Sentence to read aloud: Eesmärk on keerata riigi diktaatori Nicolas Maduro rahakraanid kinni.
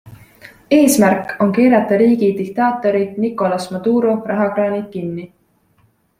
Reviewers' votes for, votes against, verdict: 3, 0, accepted